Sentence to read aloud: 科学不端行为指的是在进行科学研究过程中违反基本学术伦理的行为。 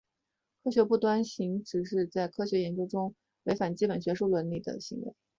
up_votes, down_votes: 0, 2